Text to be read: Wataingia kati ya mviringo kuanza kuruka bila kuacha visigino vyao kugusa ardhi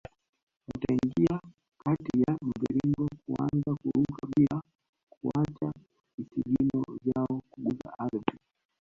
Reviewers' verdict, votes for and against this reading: accepted, 2, 1